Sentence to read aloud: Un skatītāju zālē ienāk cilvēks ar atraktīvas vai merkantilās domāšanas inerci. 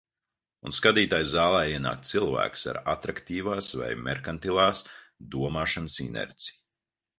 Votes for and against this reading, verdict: 1, 2, rejected